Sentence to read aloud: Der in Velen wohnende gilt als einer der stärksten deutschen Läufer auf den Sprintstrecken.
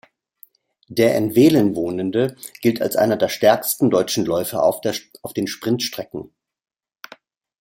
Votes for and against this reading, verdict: 0, 2, rejected